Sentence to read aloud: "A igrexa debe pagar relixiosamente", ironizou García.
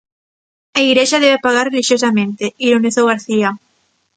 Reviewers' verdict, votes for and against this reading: rejected, 0, 2